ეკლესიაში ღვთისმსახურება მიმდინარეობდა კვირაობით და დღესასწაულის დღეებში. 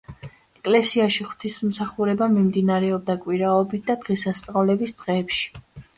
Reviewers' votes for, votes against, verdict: 2, 1, accepted